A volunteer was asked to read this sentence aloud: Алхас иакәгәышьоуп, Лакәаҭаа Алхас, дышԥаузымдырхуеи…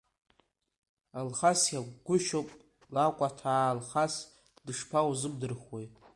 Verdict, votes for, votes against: rejected, 0, 2